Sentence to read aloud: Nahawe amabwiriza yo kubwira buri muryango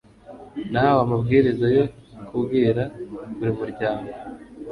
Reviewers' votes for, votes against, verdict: 1, 2, rejected